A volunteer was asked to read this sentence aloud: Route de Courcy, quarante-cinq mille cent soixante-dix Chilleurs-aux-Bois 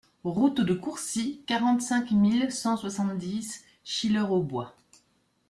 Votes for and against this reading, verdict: 2, 0, accepted